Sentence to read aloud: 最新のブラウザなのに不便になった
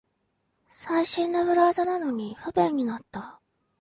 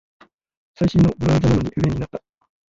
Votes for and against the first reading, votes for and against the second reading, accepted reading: 2, 0, 0, 2, first